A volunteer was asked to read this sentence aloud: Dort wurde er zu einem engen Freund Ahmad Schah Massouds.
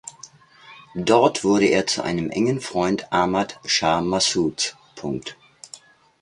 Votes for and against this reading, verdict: 0, 2, rejected